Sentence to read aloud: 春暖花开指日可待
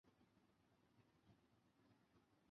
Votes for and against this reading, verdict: 1, 2, rejected